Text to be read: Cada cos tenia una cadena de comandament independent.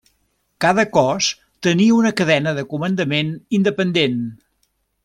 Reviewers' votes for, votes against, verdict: 3, 0, accepted